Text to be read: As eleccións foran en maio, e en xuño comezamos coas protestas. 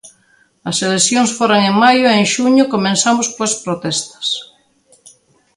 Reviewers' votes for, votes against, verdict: 0, 2, rejected